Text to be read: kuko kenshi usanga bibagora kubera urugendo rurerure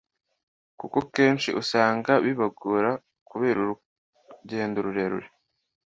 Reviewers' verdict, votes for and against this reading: accepted, 2, 0